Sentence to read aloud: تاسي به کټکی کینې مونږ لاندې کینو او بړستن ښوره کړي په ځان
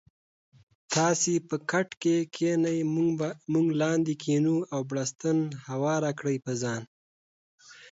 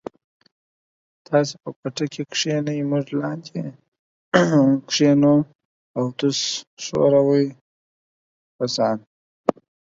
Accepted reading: first